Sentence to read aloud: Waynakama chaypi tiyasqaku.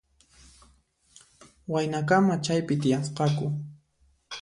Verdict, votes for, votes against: accepted, 2, 0